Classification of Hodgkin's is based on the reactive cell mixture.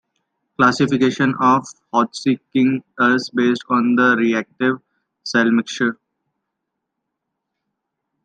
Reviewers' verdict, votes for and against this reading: rejected, 0, 2